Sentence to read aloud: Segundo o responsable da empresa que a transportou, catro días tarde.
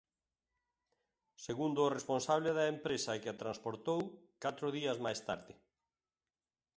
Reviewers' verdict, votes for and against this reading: rejected, 0, 2